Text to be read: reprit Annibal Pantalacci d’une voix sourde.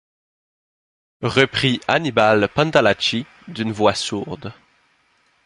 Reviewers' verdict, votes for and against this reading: accepted, 2, 0